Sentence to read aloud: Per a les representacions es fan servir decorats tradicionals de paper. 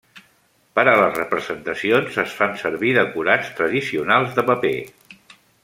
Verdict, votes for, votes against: accepted, 3, 0